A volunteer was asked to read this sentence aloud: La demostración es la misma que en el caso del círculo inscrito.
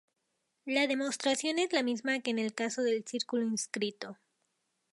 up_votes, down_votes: 2, 0